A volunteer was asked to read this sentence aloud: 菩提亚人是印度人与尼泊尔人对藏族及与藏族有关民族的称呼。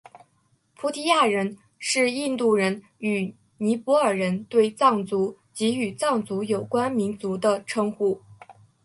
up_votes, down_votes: 3, 1